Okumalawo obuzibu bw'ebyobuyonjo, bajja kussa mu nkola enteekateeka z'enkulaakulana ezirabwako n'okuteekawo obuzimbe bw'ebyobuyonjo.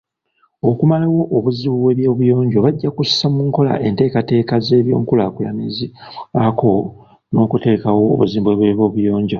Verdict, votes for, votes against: rejected, 1, 2